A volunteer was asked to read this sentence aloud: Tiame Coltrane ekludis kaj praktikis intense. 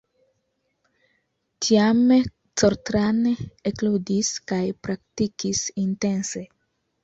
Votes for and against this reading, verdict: 2, 0, accepted